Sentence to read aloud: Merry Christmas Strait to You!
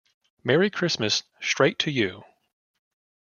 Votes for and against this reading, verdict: 2, 0, accepted